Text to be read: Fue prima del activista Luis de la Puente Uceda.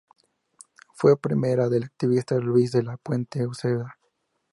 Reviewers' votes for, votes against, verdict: 0, 4, rejected